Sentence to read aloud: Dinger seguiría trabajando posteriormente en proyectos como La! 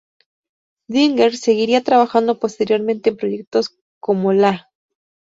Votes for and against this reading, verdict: 2, 0, accepted